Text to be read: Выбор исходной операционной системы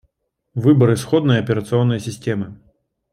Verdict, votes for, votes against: accepted, 2, 0